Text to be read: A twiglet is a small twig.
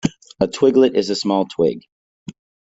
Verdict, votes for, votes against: accepted, 2, 0